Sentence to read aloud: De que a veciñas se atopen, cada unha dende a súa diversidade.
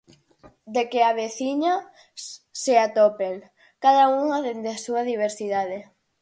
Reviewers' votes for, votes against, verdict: 0, 4, rejected